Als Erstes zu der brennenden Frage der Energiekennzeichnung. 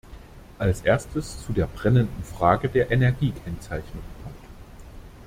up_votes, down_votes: 1, 2